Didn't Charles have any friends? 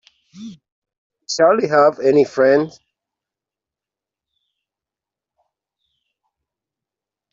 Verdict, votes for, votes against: rejected, 0, 2